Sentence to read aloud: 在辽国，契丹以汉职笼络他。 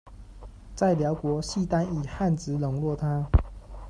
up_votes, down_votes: 1, 2